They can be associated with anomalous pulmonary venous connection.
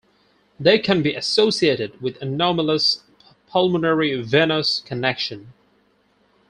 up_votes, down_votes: 4, 0